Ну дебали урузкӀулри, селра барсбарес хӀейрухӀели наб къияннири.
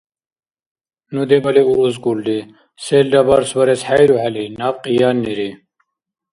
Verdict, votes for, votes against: accepted, 2, 0